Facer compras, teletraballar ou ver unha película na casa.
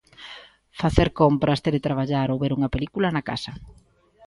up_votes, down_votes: 2, 0